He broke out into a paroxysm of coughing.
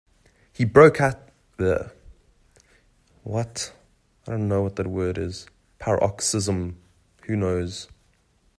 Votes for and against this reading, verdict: 0, 2, rejected